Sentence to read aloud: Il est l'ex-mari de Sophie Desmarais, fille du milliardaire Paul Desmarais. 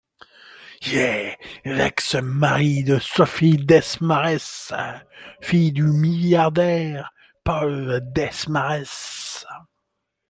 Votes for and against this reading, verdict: 1, 2, rejected